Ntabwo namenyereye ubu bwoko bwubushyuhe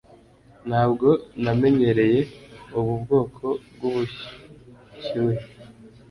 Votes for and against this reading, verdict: 2, 0, accepted